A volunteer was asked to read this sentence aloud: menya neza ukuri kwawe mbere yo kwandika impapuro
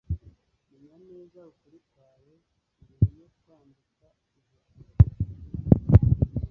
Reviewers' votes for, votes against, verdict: 1, 2, rejected